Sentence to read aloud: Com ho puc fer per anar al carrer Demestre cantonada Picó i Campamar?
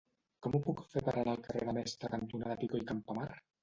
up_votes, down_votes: 1, 2